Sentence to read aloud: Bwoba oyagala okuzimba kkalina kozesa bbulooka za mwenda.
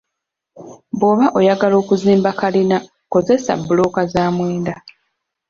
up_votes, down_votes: 3, 0